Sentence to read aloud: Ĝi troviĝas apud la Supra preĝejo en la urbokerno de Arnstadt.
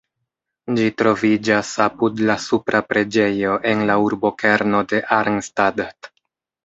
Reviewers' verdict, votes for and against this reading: accepted, 2, 0